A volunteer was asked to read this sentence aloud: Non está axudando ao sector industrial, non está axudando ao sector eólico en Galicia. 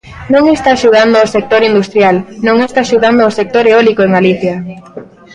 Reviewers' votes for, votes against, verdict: 0, 2, rejected